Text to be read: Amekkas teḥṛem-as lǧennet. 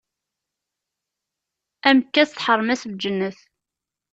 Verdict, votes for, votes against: accepted, 2, 0